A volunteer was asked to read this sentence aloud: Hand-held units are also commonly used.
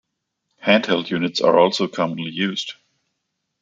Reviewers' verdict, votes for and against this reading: accepted, 2, 0